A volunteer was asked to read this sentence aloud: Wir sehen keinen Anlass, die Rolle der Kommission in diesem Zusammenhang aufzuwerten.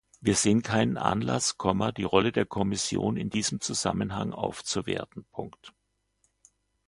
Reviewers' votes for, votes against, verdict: 2, 1, accepted